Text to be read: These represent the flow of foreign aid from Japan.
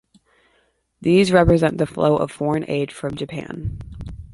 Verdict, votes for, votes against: accepted, 2, 0